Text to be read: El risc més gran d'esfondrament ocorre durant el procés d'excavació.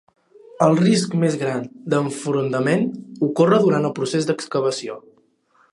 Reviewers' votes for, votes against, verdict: 0, 2, rejected